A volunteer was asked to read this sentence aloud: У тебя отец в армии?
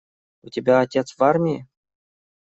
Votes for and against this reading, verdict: 2, 0, accepted